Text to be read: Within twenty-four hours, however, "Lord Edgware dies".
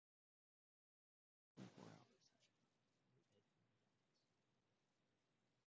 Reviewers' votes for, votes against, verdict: 0, 2, rejected